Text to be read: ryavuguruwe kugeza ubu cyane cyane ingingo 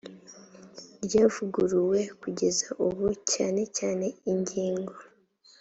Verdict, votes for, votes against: accepted, 3, 0